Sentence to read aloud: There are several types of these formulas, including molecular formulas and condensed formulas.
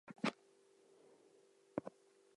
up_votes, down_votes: 0, 4